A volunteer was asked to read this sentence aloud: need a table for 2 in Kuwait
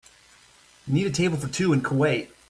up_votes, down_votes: 0, 2